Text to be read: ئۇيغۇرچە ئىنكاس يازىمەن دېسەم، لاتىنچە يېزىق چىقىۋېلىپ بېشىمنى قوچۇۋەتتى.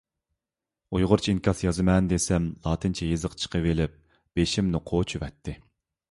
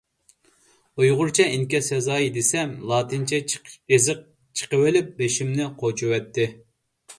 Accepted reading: first